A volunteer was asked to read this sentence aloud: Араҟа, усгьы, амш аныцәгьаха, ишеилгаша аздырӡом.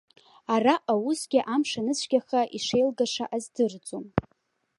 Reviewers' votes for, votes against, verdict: 2, 0, accepted